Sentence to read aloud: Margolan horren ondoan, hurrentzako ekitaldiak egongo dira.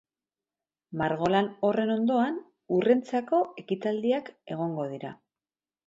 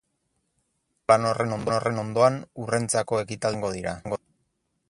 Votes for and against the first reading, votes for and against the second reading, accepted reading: 2, 0, 0, 4, first